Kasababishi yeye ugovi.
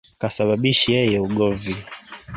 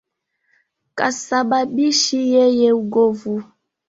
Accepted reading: first